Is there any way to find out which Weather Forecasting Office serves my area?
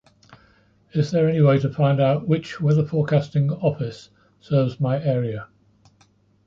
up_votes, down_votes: 1, 2